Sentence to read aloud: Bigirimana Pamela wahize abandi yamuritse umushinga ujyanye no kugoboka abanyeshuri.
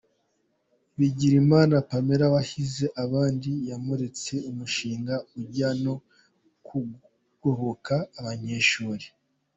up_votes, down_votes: 0, 3